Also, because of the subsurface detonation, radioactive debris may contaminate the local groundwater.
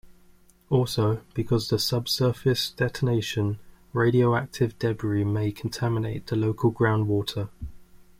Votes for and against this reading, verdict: 0, 2, rejected